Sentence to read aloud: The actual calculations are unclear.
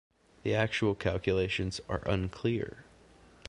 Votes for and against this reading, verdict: 2, 0, accepted